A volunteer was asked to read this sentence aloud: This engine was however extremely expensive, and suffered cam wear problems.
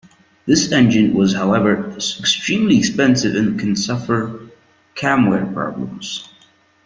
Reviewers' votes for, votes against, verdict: 0, 3, rejected